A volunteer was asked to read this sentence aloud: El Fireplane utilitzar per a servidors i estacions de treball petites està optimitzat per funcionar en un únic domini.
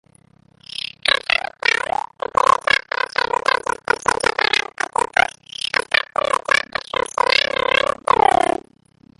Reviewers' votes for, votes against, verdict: 1, 2, rejected